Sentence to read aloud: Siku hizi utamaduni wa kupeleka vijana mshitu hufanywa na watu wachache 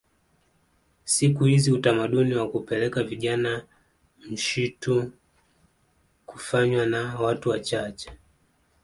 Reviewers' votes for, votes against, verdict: 2, 0, accepted